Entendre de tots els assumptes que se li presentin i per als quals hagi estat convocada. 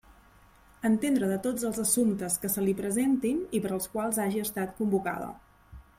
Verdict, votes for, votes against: accepted, 3, 0